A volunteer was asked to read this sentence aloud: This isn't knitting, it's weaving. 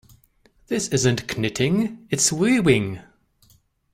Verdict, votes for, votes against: rejected, 0, 2